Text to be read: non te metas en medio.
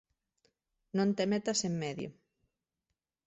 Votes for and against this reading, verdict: 2, 1, accepted